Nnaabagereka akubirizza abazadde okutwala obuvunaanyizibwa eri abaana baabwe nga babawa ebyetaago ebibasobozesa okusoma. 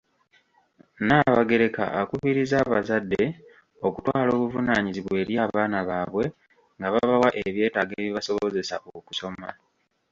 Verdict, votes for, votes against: rejected, 1, 2